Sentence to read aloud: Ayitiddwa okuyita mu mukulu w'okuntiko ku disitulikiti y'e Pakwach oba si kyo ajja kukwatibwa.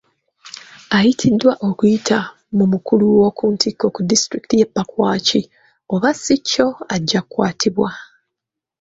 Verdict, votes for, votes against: rejected, 1, 2